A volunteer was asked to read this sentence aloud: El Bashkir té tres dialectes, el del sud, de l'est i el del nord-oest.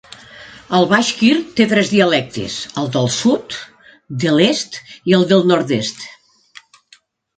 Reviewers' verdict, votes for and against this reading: rejected, 0, 2